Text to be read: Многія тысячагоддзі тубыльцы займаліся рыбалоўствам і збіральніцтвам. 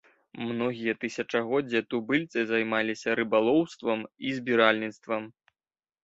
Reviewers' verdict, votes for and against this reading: rejected, 1, 2